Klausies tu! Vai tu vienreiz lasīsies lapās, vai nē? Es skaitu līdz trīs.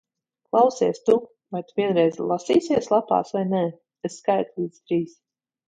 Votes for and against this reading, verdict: 1, 2, rejected